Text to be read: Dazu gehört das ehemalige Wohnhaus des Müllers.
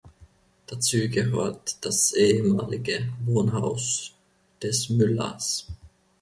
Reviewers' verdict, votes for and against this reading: accepted, 2, 1